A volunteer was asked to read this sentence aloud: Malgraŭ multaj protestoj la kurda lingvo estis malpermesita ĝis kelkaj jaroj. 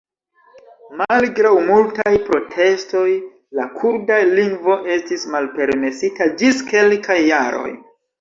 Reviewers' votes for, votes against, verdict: 2, 1, accepted